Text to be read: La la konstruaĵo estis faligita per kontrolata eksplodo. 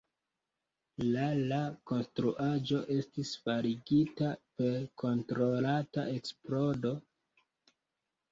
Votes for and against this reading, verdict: 0, 2, rejected